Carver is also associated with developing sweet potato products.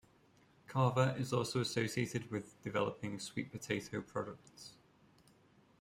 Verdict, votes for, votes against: rejected, 0, 2